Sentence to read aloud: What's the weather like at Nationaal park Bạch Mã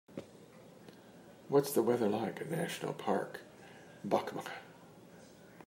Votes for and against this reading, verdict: 2, 1, accepted